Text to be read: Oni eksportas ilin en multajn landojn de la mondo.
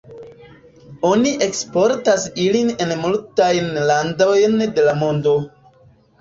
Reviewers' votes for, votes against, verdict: 0, 2, rejected